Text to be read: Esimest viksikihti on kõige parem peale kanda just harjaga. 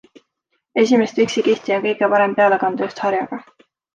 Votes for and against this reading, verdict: 3, 0, accepted